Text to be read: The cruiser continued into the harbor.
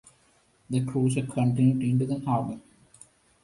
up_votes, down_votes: 2, 0